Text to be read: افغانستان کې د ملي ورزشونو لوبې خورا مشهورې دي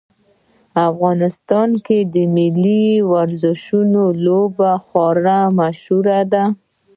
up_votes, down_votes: 0, 2